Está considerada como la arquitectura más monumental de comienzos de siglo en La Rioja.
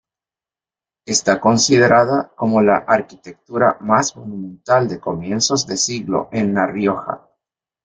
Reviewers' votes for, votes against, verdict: 1, 2, rejected